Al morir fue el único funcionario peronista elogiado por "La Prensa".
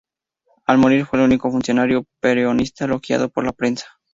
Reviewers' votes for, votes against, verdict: 0, 2, rejected